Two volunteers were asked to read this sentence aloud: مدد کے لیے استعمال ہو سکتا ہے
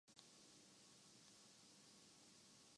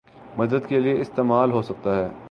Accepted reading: second